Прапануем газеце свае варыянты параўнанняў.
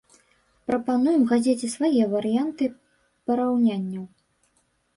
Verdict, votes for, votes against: rejected, 0, 2